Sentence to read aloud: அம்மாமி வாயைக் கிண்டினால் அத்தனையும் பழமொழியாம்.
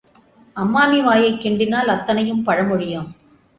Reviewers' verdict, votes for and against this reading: accepted, 2, 0